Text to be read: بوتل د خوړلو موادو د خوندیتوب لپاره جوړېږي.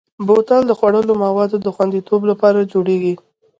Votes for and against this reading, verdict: 1, 2, rejected